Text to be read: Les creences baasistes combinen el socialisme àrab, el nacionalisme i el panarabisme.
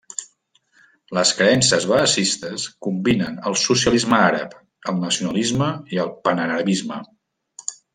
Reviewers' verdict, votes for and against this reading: rejected, 1, 2